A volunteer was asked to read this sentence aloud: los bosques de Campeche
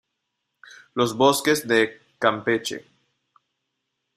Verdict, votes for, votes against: accepted, 2, 0